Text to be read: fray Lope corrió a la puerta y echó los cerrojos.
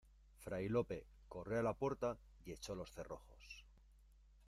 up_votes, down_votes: 2, 0